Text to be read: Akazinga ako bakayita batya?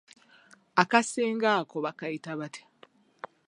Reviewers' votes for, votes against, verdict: 1, 2, rejected